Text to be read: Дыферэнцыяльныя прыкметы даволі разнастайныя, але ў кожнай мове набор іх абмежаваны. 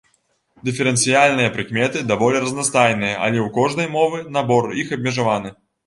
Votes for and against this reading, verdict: 0, 3, rejected